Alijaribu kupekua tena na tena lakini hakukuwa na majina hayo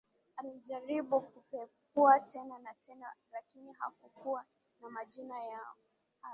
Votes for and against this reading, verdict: 0, 2, rejected